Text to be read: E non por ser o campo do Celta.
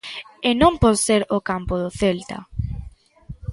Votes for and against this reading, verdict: 2, 0, accepted